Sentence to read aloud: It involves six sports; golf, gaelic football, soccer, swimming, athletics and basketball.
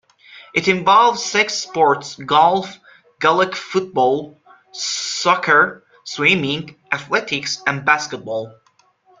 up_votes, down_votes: 2, 0